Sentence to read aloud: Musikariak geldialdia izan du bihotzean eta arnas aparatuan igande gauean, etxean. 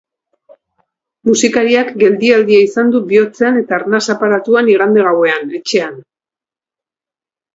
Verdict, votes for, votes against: accepted, 2, 1